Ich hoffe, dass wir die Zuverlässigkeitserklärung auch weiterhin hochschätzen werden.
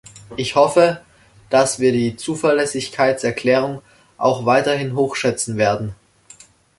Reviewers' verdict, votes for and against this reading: accepted, 2, 0